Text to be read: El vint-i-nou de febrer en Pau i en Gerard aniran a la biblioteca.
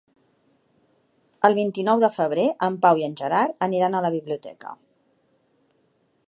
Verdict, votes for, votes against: accepted, 2, 0